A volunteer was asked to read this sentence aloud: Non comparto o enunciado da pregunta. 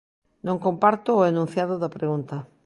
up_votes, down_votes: 2, 0